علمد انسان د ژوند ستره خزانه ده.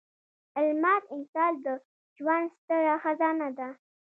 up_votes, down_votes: 0, 3